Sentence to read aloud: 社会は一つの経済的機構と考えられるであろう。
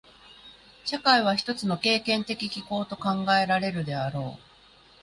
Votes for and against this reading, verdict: 1, 2, rejected